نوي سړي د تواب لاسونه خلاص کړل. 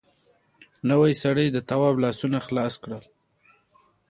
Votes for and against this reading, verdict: 1, 2, rejected